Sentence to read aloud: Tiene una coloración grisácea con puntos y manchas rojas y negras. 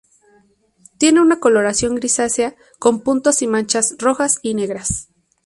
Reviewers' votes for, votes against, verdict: 2, 0, accepted